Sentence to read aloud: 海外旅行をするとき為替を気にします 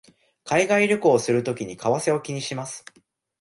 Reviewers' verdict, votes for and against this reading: rejected, 1, 2